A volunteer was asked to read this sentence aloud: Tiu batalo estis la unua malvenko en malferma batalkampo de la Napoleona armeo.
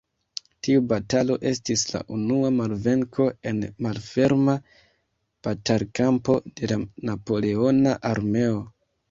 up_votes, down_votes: 2, 1